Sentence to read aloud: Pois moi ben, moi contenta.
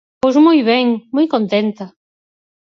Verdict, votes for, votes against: accepted, 4, 0